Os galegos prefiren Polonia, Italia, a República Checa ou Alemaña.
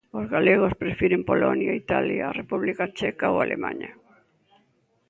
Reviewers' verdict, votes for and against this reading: accepted, 2, 0